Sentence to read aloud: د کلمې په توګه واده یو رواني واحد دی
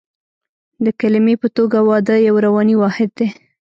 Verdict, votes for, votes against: rejected, 0, 2